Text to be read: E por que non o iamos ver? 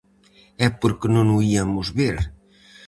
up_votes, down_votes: 2, 2